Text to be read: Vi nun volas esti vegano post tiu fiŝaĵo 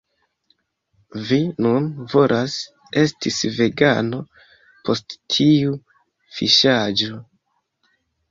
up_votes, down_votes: 2, 1